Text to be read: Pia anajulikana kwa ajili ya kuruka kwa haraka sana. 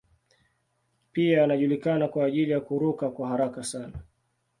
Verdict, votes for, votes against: accepted, 2, 0